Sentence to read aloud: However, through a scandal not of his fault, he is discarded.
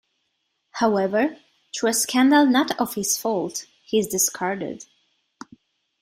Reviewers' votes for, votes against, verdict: 2, 0, accepted